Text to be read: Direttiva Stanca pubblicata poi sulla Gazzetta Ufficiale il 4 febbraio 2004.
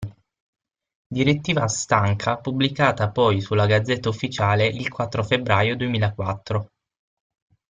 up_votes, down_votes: 0, 2